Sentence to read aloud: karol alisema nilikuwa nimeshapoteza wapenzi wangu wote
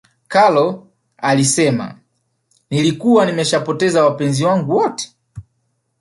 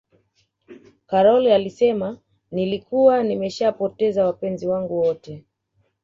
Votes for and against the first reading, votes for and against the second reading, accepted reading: 8, 0, 1, 2, first